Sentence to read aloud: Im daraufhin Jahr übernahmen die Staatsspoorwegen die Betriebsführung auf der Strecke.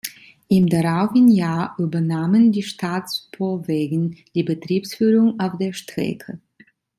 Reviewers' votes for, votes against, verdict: 1, 2, rejected